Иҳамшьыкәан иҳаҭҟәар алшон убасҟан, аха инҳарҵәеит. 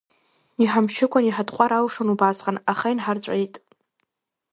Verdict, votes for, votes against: rejected, 1, 2